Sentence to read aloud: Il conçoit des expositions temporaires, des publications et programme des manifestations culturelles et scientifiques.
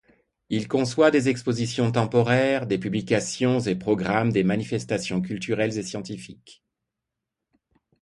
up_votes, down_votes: 2, 0